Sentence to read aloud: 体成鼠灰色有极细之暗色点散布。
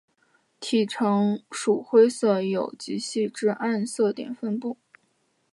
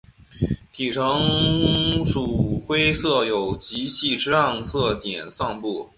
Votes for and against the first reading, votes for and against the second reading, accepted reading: 2, 0, 0, 2, first